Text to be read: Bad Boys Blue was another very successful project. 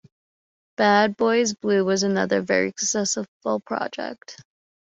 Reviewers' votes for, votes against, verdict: 1, 2, rejected